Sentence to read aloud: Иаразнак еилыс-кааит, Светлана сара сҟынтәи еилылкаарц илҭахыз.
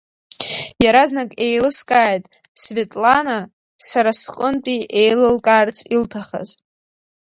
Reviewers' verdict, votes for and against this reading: accepted, 5, 0